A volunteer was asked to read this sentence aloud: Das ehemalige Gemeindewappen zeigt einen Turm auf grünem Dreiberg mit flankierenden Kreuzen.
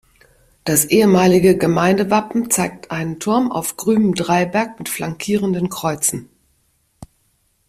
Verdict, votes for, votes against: accepted, 2, 0